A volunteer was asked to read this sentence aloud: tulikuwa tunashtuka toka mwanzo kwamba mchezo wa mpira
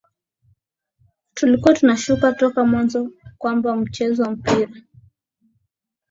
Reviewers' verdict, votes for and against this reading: accepted, 16, 4